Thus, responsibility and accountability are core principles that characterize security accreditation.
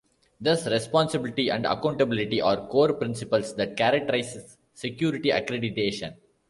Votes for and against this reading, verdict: 1, 2, rejected